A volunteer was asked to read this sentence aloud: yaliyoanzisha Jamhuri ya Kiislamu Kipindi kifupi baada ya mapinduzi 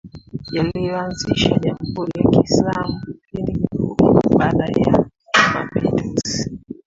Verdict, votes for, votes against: accepted, 2, 1